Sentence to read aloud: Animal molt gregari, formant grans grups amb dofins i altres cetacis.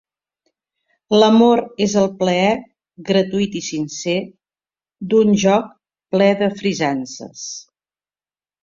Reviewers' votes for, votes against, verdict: 0, 2, rejected